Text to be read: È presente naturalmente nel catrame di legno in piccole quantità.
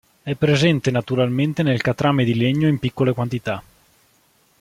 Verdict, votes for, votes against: rejected, 0, 2